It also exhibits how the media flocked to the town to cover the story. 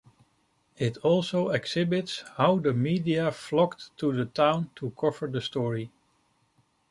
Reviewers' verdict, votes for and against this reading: accepted, 2, 0